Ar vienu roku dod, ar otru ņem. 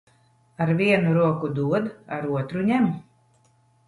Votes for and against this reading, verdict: 2, 0, accepted